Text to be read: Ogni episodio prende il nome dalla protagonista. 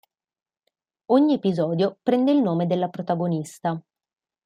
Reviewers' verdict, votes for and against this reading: rejected, 1, 2